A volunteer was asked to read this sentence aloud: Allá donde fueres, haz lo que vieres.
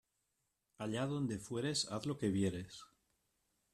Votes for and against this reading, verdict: 2, 0, accepted